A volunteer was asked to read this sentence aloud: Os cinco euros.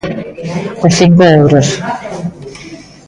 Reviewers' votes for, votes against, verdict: 2, 1, accepted